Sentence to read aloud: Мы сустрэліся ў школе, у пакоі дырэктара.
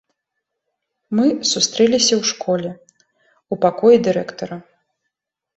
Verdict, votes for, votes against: accepted, 2, 1